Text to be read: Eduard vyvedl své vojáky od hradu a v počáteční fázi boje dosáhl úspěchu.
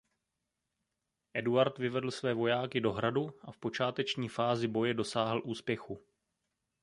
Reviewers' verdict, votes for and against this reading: rejected, 0, 2